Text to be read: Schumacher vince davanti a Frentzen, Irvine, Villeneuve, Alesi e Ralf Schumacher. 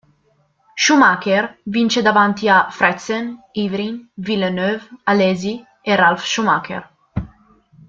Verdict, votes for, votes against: rejected, 1, 2